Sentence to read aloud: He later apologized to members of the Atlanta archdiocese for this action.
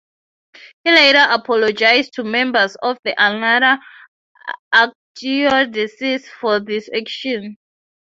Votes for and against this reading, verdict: 3, 3, rejected